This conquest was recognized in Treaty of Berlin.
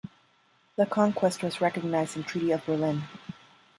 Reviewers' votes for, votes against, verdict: 0, 2, rejected